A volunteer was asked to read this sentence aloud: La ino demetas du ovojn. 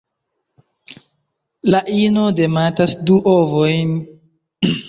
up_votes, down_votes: 0, 2